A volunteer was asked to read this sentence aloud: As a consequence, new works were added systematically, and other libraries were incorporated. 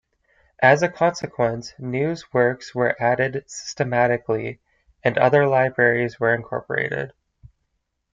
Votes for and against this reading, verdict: 0, 2, rejected